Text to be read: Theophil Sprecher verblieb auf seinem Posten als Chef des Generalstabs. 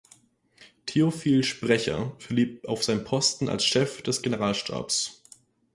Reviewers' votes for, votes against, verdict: 0, 4, rejected